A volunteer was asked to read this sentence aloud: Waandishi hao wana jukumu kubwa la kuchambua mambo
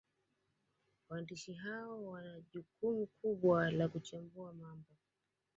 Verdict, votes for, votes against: rejected, 0, 2